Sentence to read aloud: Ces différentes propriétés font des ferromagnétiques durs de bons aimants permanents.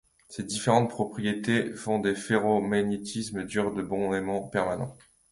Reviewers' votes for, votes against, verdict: 2, 0, accepted